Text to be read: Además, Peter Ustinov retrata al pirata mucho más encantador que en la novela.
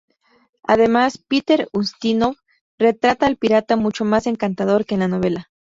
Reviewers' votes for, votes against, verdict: 0, 2, rejected